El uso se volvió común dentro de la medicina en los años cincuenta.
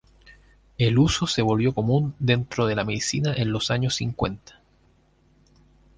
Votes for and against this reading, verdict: 4, 0, accepted